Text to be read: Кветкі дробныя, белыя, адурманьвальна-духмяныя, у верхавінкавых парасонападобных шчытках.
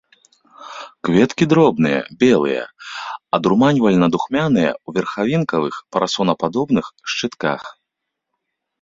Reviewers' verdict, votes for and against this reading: accepted, 2, 0